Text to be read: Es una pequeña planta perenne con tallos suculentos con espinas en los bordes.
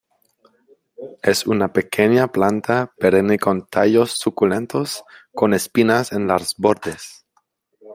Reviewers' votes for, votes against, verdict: 2, 1, accepted